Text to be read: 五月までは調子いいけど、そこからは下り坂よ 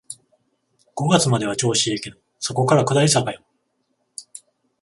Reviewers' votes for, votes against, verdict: 7, 14, rejected